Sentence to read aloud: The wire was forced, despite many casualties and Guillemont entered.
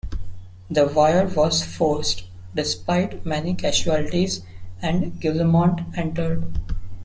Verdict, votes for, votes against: accepted, 2, 0